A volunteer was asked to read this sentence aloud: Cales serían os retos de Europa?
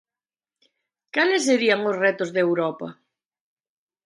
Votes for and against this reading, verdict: 3, 0, accepted